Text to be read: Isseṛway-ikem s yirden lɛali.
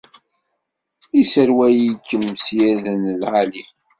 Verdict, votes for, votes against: rejected, 1, 2